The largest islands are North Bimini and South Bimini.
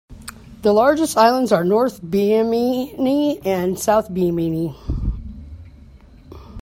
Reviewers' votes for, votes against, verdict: 1, 2, rejected